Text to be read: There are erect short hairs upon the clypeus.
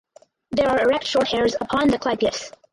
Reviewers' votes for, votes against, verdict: 2, 4, rejected